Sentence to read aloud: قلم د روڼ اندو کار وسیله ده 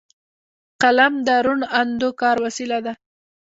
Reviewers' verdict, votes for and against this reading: rejected, 1, 2